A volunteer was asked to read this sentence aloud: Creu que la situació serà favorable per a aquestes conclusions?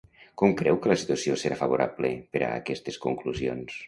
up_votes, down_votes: 0, 2